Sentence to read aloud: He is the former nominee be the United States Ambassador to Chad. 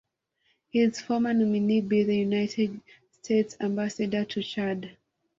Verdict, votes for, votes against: rejected, 0, 2